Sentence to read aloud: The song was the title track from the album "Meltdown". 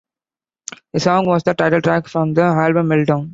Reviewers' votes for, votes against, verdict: 2, 0, accepted